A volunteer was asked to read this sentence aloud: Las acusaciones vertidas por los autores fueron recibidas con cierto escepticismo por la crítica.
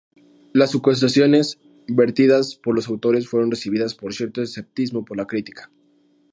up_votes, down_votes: 0, 2